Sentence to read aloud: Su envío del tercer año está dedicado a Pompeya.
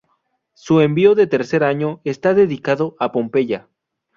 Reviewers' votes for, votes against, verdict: 0, 2, rejected